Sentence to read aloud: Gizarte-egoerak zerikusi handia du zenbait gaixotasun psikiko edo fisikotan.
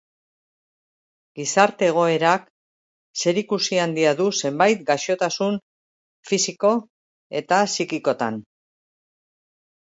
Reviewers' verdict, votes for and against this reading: rejected, 0, 2